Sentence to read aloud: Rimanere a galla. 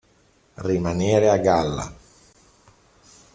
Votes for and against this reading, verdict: 1, 2, rejected